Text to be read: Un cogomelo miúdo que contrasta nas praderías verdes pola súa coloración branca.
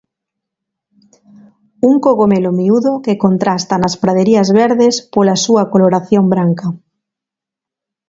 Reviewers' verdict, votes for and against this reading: accepted, 2, 0